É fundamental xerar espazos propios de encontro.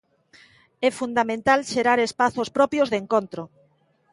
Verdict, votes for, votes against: accepted, 2, 0